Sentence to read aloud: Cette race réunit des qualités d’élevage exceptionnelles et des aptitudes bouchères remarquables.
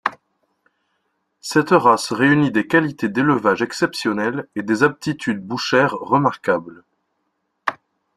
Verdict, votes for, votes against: accepted, 2, 0